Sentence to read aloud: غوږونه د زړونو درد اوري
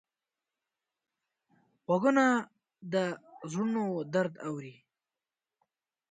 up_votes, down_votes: 2, 1